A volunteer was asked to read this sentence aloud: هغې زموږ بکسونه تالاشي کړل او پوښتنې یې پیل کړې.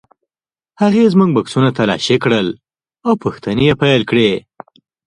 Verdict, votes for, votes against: rejected, 1, 2